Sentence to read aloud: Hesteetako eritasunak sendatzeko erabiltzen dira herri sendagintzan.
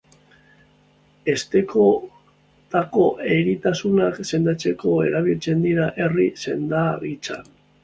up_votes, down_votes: 0, 2